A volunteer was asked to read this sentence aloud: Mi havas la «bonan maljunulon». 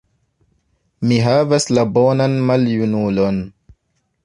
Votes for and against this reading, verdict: 1, 2, rejected